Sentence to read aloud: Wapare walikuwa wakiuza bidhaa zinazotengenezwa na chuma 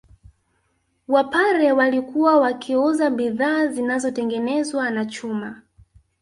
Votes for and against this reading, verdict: 1, 2, rejected